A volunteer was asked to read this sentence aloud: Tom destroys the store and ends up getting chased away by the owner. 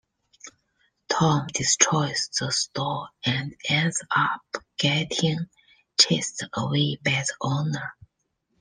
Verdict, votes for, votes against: accepted, 2, 0